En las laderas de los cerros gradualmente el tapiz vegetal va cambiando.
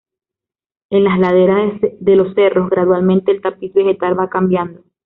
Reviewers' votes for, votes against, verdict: 2, 0, accepted